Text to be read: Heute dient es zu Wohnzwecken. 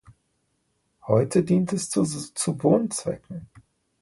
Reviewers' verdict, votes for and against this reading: rejected, 0, 2